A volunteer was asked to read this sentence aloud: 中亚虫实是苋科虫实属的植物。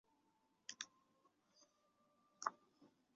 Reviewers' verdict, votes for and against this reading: rejected, 0, 5